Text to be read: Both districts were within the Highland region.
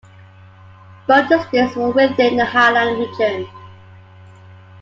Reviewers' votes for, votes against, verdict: 2, 0, accepted